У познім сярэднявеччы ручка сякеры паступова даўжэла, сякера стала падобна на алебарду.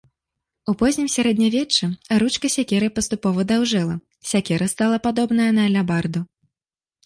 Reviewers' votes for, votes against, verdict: 0, 2, rejected